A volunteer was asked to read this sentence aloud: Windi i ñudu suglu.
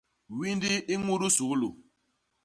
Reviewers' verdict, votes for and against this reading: accepted, 2, 0